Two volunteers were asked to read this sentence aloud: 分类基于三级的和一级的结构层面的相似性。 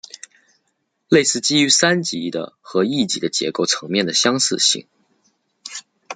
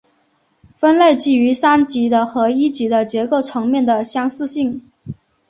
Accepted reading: second